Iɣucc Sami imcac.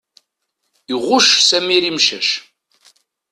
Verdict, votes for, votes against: rejected, 1, 2